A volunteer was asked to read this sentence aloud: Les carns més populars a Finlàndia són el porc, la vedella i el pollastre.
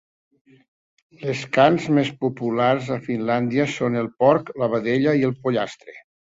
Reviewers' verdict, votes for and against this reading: accepted, 2, 0